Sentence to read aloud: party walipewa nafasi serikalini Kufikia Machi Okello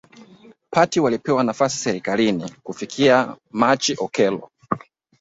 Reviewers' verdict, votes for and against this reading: accepted, 2, 0